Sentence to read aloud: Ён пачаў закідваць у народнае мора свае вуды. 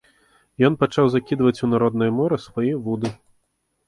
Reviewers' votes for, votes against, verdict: 2, 0, accepted